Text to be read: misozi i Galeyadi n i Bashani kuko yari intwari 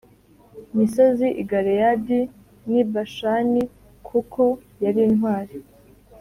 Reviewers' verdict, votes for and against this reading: rejected, 1, 2